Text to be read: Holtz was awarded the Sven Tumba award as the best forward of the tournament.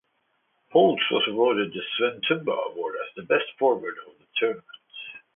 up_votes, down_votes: 2, 0